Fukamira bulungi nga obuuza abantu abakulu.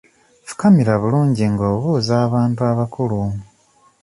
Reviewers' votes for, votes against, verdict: 2, 0, accepted